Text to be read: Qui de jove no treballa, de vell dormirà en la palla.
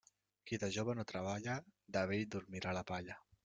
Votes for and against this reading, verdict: 0, 2, rejected